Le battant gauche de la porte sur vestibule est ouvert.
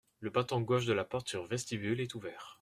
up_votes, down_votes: 2, 0